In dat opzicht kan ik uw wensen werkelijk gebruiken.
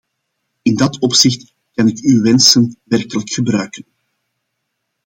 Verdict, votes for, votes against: accepted, 2, 0